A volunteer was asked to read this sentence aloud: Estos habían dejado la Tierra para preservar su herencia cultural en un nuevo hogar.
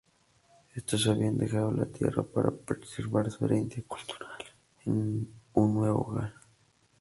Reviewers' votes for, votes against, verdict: 0, 2, rejected